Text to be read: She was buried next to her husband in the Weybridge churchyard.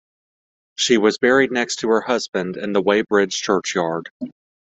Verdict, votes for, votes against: accepted, 2, 1